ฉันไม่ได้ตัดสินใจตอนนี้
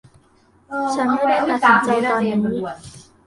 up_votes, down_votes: 0, 2